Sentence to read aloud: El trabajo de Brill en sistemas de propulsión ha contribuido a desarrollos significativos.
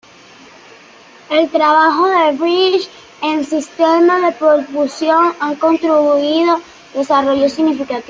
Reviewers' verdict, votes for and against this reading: rejected, 0, 2